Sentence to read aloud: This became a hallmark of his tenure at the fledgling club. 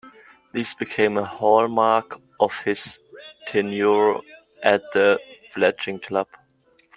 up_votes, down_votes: 2, 0